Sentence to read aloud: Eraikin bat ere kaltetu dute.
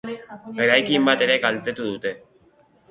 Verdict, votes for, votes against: accepted, 2, 1